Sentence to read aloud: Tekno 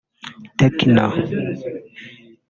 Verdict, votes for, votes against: rejected, 1, 2